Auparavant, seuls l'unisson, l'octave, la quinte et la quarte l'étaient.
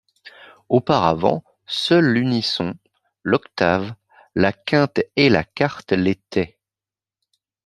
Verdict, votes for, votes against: accepted, 2, 0